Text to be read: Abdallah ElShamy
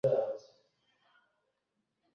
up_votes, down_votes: 0, 2